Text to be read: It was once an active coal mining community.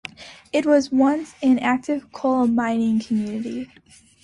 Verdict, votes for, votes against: accepted, 2, 0